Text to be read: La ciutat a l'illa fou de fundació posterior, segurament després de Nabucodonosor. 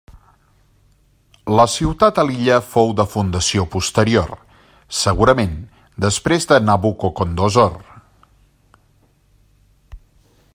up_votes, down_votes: 0, 2